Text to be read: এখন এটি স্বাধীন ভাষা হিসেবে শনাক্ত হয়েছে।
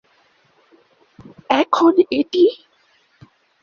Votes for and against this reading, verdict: 0, 2, rejected